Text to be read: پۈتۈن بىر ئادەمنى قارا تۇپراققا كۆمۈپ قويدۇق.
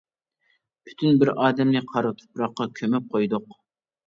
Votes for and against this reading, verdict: 2, 0, accepted